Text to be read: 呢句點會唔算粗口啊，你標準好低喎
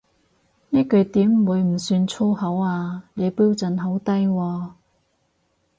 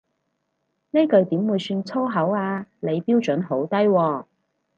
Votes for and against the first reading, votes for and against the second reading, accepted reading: 4, 0, 2, 2, first